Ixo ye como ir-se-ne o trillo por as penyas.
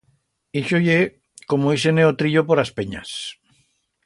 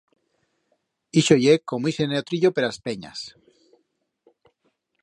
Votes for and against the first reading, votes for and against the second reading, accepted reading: 2, 0, 0, 2, first